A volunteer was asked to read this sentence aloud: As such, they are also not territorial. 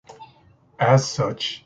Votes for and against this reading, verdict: 0, 2, rejected